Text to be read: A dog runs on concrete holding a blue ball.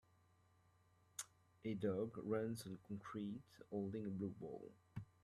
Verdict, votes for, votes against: rejected, 0, 2